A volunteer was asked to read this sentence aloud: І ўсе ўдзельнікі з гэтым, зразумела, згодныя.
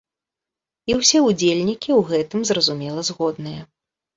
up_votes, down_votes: 0, 2